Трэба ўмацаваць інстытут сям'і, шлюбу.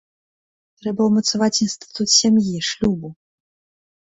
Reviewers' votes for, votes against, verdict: 2, 0, accepted